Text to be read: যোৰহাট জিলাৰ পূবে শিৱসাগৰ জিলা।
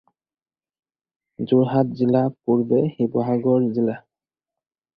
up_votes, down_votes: 0, 4